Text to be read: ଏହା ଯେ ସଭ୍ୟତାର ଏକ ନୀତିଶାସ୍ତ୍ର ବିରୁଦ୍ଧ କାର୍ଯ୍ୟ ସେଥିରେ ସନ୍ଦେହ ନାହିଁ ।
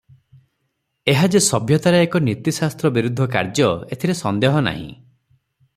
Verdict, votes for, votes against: rejected, 0, 3